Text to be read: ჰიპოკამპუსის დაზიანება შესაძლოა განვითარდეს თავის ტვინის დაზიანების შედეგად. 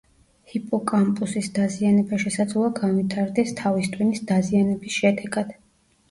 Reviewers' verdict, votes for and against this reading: accepted, 2, 0